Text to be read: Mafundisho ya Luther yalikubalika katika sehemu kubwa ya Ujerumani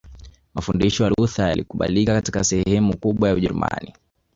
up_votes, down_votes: 0, 2